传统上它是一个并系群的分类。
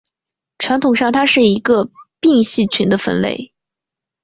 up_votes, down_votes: 6, 0